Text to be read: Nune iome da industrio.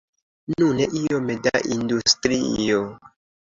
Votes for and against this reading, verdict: 2, 0, accepted